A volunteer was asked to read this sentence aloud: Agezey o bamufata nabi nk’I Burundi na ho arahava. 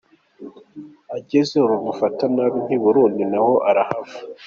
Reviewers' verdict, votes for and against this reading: accepted, 3, 1